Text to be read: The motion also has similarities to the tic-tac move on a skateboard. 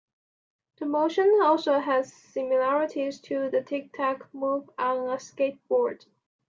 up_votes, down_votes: 2, 0